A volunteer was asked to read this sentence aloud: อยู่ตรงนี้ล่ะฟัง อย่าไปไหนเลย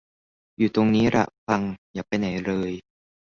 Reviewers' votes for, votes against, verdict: 1, 2, rejected